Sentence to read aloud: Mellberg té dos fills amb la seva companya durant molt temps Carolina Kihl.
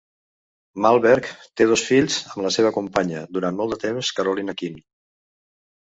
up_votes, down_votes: 2, 1